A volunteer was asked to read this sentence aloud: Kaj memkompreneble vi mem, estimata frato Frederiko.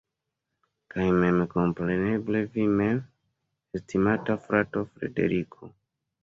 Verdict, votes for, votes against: accepted, 2, 0